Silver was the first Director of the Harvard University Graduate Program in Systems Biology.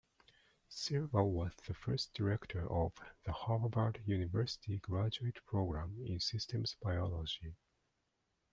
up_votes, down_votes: 2, 0